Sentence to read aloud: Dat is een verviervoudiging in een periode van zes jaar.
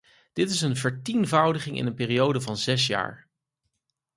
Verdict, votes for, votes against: rejected, 2, 4